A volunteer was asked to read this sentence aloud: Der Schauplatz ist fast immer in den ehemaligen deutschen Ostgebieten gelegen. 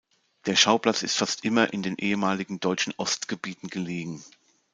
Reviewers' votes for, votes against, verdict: 2, 0, accepted